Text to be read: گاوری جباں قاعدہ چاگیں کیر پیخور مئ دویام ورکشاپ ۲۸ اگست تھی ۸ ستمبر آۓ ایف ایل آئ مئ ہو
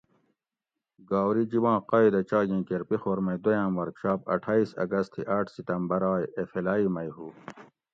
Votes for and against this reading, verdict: 0, 2, rejected